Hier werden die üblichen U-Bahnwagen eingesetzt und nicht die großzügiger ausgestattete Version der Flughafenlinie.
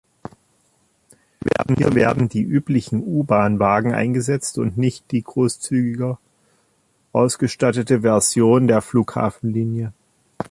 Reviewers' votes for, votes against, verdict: 0, 2, rejected